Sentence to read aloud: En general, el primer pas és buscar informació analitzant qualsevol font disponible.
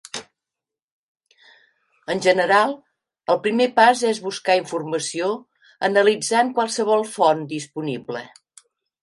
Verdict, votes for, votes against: accepted, 3, 0